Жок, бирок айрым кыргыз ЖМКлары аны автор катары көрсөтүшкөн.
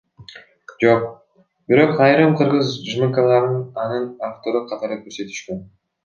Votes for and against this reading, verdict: 2, 0, accepted